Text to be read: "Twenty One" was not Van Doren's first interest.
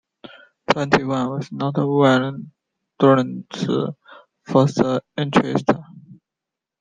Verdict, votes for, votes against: rejected, 0, 2